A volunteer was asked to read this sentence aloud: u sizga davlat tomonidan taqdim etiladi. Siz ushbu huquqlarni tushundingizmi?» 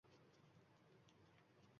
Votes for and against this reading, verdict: 1, 2, rejected